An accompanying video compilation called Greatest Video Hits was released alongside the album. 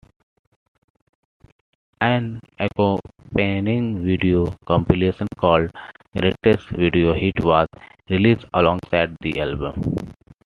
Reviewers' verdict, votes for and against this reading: rejected, 0, 2